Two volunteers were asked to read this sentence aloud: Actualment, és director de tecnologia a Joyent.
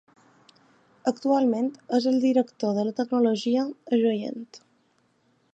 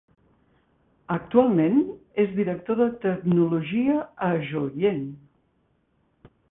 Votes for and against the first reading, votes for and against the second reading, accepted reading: 1, 2, 2, 0, second